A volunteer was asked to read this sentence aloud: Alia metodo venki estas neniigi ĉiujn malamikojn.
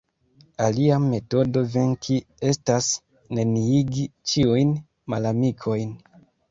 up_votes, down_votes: 0, 2